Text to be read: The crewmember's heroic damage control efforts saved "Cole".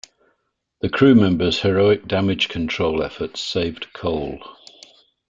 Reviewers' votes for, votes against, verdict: 2, 0, accepted